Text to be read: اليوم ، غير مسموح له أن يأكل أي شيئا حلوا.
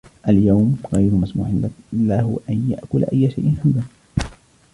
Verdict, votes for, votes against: rejected, 1, 2